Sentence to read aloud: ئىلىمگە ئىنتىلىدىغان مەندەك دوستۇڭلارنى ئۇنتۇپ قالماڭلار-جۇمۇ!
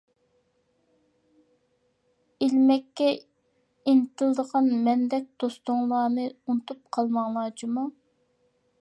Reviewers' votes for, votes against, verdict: 0, 2, rejected